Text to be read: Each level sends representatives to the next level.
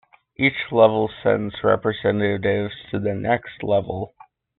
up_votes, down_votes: 2, 0